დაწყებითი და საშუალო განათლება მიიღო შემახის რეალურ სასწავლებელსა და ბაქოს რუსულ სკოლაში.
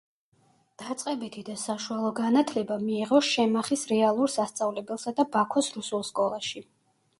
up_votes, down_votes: 0, 2